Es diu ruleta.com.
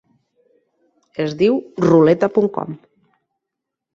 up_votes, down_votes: 2, 0